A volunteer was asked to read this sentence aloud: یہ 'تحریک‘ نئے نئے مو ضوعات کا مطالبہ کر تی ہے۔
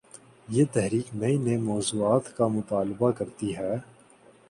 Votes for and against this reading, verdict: 2, 0, accepted